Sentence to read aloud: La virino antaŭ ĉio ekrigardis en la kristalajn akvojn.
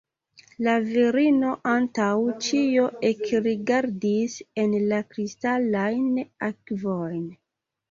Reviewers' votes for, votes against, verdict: 1, 2, rejected